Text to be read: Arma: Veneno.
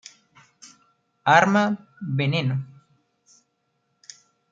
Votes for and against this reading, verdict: 2, 0, accepted